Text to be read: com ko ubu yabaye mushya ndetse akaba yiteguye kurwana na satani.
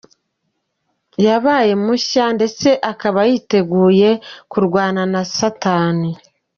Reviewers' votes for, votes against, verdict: 2, 1, accepted